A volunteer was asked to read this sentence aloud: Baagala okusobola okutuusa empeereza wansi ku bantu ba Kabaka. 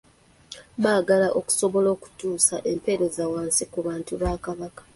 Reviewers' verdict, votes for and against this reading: accepted, 2, 0